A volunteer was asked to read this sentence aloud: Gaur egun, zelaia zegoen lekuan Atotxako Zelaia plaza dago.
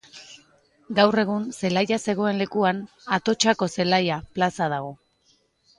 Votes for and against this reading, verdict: 0, 2, rejected